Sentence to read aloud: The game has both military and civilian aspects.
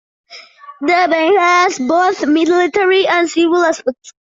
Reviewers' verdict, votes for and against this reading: rejected, 0, 2